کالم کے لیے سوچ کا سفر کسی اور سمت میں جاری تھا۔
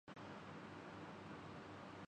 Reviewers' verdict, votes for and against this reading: rejected, 0, 2